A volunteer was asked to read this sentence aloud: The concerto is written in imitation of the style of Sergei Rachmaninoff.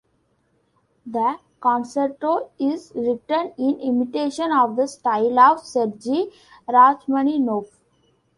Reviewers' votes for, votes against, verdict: 2, 0, accepted